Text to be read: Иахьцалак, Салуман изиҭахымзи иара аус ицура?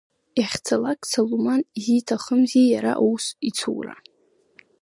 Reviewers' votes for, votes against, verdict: 0, 2, rejected